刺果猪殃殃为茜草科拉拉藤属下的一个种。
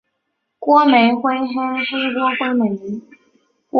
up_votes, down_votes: 0, 2